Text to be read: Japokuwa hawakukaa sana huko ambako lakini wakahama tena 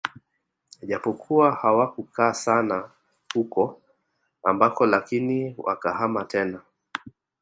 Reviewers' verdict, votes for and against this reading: accepted, 2, 0